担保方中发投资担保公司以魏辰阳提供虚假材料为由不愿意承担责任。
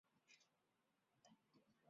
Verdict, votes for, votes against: rejected, 1, 3